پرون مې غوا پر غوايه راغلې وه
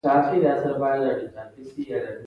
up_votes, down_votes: 2, 1